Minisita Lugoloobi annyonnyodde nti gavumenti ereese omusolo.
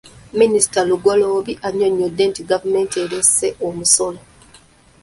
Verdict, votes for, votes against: rejected, 0, 2